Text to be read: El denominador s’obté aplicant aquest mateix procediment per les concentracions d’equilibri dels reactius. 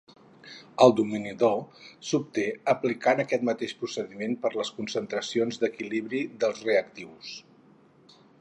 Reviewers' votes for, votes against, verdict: 2, 2, rejected